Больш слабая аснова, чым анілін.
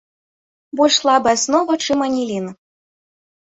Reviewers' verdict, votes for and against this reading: rejected, 1, 2